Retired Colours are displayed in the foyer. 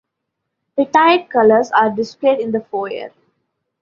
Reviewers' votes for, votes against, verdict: 2, 0, accepted